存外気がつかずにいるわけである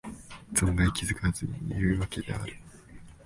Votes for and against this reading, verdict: 2, 1, accepted